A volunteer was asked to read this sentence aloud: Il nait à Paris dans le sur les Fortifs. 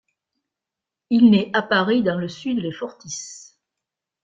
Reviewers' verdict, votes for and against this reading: accepted, 2, 0